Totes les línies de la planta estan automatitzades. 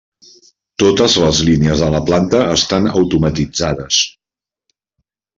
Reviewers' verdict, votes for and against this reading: accepted, 3, 0